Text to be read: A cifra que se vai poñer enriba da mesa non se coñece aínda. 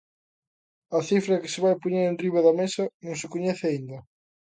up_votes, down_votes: 2, 0